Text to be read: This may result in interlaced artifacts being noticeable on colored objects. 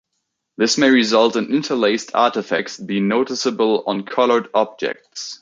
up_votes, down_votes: 2, 0